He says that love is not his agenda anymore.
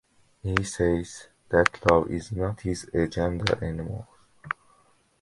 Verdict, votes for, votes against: accepted, 2, 0